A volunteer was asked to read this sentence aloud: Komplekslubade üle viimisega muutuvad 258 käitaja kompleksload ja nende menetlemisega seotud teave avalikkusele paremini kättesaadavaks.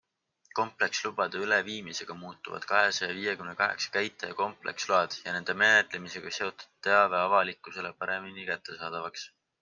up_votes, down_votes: 0, 2